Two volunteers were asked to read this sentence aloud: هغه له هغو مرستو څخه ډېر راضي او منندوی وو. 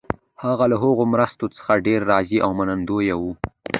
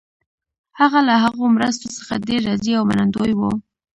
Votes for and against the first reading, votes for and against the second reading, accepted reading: 2, 0, 0, 2, first